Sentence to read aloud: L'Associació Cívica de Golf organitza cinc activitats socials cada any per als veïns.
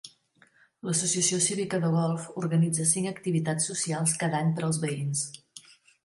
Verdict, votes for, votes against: accepted, 2, 0